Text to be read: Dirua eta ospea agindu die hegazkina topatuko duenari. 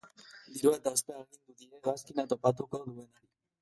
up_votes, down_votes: 0, 2